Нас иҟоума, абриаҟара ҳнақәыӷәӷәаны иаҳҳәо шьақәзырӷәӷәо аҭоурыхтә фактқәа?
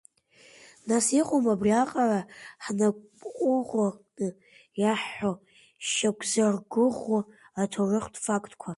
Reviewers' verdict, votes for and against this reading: rejected, 0, 2